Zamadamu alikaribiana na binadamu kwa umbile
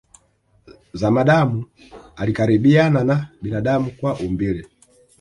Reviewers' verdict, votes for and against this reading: accepted, 2, 0